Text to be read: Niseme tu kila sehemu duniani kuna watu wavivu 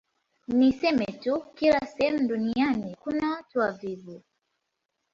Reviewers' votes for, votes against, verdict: 2, 0, accepted